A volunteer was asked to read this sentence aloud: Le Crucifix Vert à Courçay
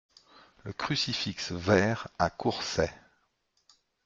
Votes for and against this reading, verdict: 1, 2, rejected